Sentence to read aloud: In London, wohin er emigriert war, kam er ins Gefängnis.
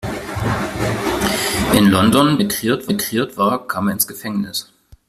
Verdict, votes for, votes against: rejected, 0, 2